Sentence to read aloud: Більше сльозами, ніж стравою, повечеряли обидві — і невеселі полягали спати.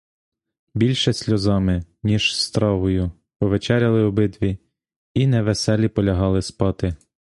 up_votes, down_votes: 1, 2